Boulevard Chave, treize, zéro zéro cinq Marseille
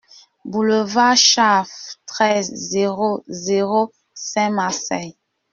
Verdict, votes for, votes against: rejected, 0, 2